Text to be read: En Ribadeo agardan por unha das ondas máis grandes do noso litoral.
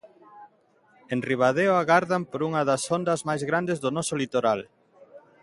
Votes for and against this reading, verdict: 2, 0, accepted